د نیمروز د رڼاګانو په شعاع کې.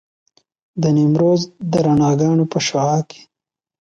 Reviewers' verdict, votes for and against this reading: accepted, 2, 0